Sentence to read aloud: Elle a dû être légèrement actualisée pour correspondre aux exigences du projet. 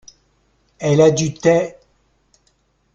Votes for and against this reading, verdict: 0, 2, rejected